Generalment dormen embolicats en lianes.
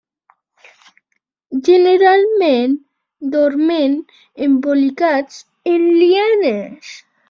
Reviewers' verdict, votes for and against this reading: accepted, 2, 0